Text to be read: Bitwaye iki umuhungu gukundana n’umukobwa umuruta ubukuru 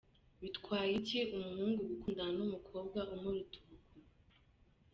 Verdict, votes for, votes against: accepted, 2, 1